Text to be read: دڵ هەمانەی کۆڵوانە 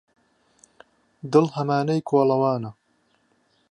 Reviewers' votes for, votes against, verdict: 0, 2, rejected